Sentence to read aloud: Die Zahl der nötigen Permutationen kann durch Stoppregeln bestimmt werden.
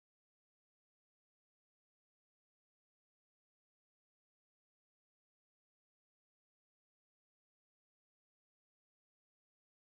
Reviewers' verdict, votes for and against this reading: rejected, 0, 2